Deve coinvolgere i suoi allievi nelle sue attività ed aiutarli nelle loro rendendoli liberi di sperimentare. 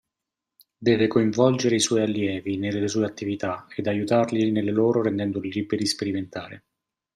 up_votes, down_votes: 2, 0